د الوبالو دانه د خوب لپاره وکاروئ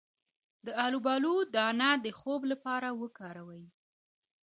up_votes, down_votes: 2, 0